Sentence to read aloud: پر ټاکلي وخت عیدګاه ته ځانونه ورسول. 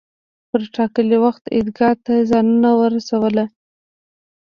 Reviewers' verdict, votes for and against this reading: rejected, 1, 2